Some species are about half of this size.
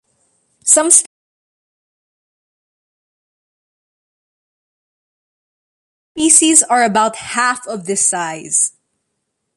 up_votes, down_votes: 0, 2